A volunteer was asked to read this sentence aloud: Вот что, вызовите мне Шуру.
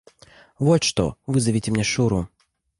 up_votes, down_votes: 2, 0